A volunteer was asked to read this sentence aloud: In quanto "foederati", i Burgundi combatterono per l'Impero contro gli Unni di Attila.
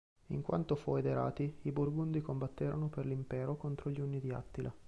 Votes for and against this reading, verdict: 1, 2, rejected